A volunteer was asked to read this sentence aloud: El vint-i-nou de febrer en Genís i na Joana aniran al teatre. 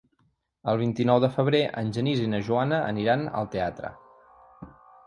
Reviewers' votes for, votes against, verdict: 3, 0, accepted